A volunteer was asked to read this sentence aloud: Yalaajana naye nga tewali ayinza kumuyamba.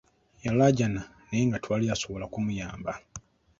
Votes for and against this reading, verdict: 2, 1, accepted